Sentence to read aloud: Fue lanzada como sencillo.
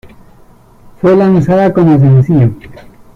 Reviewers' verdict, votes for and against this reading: accepted, 2, 0